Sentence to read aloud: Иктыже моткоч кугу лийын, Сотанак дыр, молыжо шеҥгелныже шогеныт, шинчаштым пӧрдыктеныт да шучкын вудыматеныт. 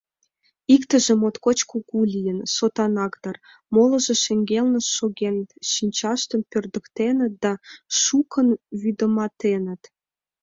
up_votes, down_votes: 1, 2